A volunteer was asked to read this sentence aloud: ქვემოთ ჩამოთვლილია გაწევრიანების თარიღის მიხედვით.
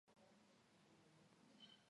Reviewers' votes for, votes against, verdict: 1, 2, rejected